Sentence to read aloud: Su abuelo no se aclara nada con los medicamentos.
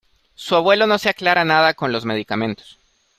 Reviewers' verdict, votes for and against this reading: accepted, 2, 0